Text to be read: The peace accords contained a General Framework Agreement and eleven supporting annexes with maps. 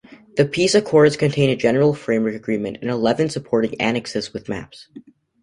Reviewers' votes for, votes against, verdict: 2, 0, accepted